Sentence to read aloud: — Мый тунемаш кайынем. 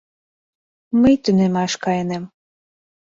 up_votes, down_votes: 2, 1